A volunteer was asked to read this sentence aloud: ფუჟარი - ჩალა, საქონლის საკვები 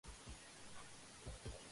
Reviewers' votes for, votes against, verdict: 1, 2, rejected